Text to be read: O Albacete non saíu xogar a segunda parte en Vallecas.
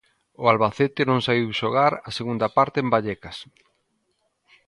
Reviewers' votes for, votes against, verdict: 2, 0, accepted